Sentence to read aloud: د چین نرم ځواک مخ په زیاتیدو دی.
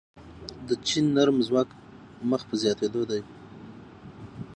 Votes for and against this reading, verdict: 0, 6, rejected